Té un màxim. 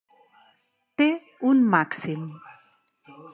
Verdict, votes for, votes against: accepted, 4, 0